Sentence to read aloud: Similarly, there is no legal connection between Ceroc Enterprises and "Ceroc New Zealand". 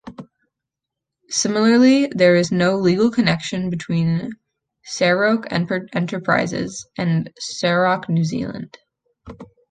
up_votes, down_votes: 0, 2